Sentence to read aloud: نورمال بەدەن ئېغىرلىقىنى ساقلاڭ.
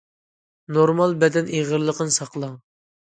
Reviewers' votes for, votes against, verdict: 2, 0, accepted